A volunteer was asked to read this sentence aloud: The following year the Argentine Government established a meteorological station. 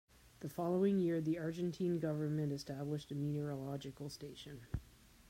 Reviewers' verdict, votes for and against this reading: accepted, 2, 0